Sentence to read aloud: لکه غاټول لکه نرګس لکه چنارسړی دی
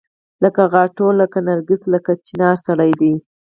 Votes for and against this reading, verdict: 2, 4, rejected